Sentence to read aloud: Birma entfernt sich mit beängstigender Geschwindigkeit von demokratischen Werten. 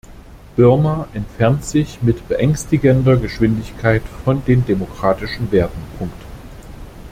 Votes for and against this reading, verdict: 0, 2, rejected